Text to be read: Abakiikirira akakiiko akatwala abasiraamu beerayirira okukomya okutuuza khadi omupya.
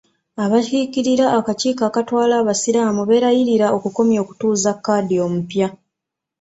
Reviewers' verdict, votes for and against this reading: accepted, 2, 0